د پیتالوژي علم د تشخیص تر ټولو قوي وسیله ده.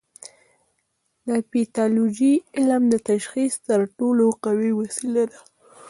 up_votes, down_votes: 1, 2